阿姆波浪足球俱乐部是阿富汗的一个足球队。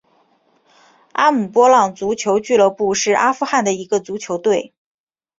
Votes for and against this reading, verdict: 5, 0, accepted